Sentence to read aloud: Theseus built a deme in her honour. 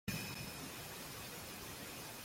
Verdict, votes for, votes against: rejected, 0, 2